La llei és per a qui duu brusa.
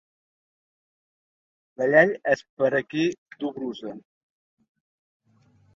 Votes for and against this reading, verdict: 2, 1, accepted